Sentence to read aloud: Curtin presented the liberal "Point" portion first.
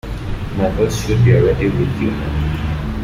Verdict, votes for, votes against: rejected, 0, 2